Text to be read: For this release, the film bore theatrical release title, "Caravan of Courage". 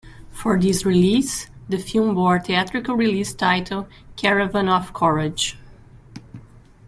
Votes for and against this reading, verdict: 2, 0, accepted